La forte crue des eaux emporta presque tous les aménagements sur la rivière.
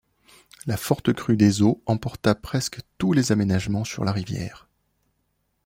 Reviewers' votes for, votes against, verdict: 2, 0, accepted